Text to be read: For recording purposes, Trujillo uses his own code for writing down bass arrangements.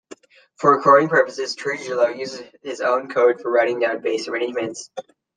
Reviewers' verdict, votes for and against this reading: rejected, 0, 2